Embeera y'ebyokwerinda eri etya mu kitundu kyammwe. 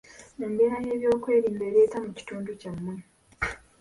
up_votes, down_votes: 2, 1